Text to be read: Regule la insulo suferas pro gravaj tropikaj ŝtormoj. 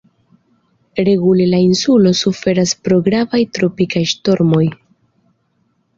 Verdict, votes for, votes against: accepted, 2, 0